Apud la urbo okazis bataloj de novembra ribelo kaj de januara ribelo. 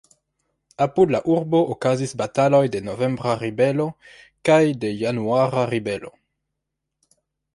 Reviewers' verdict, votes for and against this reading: accepted, 2, 0